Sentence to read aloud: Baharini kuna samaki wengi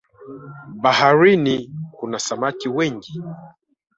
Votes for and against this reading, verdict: 0, 2, rejected